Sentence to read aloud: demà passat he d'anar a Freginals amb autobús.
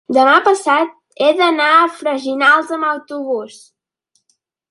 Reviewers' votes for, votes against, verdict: 2, 0, accepted